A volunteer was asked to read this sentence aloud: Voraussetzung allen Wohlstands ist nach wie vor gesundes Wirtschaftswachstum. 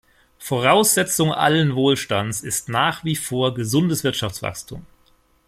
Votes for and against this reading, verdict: 2, 0, accepted